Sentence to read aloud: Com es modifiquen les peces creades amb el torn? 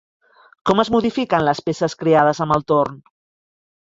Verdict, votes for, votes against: accepted, 2, 0